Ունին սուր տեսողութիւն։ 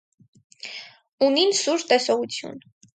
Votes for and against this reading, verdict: 2, 0, accepted